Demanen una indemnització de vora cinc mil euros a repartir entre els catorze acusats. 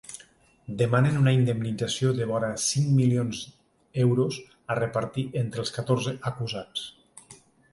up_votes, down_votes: 1, 2